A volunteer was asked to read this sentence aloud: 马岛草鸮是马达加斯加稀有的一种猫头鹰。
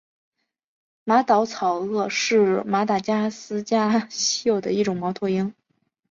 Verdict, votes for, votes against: accepted, 3, 2